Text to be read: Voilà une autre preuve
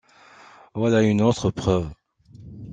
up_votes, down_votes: 2, 0